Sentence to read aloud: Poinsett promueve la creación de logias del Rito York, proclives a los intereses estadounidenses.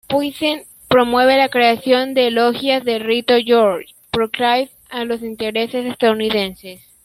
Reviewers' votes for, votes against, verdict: 0, 2, rejected